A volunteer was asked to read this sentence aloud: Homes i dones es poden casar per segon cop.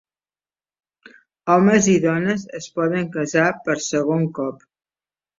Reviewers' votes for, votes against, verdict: 4, 0, accepted